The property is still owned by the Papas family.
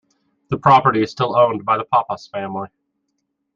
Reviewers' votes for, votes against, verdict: 2, 1, accepted